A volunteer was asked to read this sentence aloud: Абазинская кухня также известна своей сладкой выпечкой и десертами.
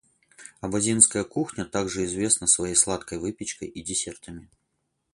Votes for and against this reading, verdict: 0, 4, rejected